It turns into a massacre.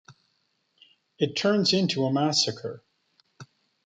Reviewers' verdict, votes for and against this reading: accepted, 2, 0